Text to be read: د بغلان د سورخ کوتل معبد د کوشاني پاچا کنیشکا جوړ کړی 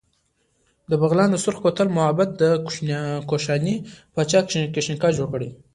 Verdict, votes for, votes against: accepted, 2, 1